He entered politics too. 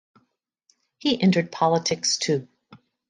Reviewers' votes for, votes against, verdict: 2, 0, accepted